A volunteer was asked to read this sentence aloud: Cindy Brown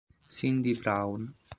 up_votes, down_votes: 2, 0